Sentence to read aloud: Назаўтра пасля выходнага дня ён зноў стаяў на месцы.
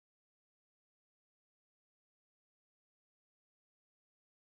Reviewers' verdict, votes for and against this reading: rejected, 0, 3